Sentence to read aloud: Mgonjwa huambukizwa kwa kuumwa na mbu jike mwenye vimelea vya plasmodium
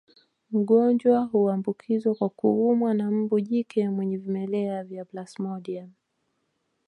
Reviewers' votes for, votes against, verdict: 2, 1, accepted